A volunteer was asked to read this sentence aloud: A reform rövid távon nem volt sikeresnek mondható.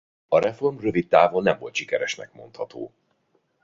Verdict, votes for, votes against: accepted, 2, 0